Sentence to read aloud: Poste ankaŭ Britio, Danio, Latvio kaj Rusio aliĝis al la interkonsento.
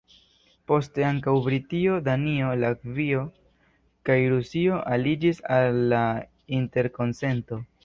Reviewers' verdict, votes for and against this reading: rejected, 1, 2